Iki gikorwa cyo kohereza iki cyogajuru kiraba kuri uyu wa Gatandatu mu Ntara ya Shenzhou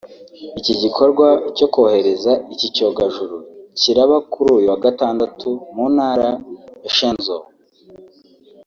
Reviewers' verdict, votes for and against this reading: rejected, 1, 2